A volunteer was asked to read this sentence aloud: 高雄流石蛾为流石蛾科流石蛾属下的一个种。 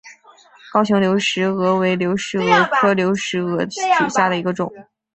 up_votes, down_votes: 5, 1